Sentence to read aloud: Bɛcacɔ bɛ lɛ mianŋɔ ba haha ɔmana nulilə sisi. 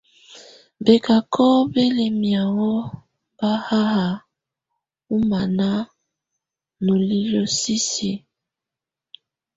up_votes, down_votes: 2, 0